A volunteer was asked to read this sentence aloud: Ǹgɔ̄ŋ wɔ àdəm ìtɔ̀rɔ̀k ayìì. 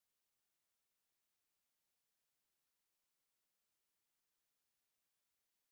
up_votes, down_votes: 0, 2